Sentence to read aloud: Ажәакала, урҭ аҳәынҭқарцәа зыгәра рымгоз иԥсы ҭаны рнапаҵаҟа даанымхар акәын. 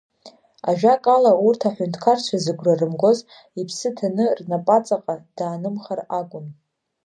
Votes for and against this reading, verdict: 2, 0, accepted